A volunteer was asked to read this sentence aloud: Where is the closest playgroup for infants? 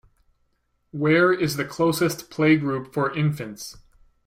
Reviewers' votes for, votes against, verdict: 2, 0, accepted